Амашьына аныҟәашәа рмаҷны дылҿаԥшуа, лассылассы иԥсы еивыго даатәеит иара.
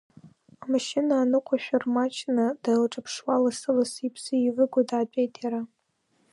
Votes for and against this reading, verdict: 3, 1, accepted